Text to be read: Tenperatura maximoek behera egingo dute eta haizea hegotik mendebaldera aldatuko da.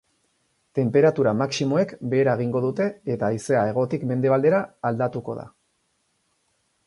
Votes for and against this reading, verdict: 2, 2, rejected